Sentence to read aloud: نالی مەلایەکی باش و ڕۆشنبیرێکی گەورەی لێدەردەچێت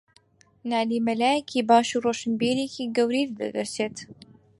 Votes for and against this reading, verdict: 0, 4, rejected